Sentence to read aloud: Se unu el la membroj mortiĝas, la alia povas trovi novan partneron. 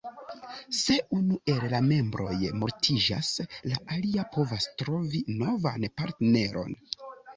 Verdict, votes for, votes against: accepted, 2, 0